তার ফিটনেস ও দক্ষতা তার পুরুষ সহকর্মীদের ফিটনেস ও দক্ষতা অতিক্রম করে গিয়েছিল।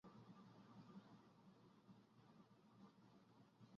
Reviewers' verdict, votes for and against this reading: rejected, 0, 2